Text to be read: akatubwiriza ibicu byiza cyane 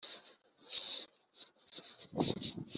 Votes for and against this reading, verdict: 0, 3, rejected